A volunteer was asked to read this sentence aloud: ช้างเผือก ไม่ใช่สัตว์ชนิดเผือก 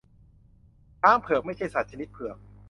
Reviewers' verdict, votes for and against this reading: accepted, 2, 0